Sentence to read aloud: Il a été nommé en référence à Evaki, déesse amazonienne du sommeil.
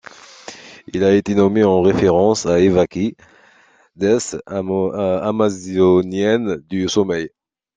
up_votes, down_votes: 0, 2